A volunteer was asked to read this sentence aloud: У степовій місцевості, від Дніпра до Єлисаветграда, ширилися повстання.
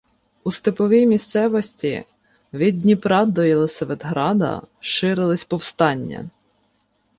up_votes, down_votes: 0, 2